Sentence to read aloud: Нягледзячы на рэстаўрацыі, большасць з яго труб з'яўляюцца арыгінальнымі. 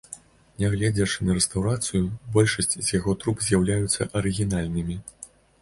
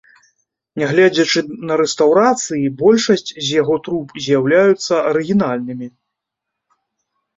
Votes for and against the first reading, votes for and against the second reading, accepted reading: 1, 2, 2, 0, second